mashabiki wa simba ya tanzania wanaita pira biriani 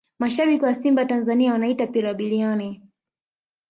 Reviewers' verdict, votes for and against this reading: rejected, 1, 2